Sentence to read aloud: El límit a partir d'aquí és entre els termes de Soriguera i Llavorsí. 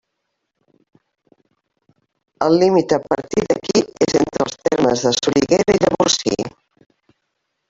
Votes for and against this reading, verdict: 0, 2, rejected